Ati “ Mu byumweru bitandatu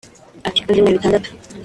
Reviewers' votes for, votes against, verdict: 1, 2, rejected